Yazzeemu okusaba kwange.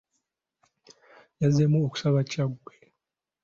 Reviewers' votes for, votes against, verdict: 0, 2, rejected